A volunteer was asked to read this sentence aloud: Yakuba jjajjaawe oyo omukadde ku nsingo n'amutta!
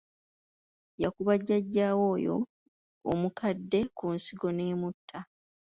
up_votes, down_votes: 2, 1